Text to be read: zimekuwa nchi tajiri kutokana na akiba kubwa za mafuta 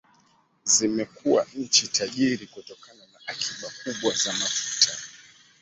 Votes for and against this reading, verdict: 2, 1, accepted